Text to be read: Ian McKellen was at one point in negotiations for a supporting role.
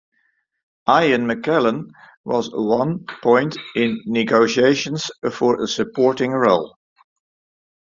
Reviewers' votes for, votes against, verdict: 0, 2, rejected